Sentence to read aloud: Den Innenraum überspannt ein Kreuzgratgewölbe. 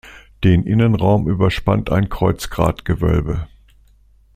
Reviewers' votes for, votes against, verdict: 2, 0, accepted